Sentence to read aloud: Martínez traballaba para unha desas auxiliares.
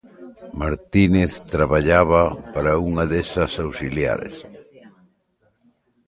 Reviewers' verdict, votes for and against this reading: rejected, 1, 2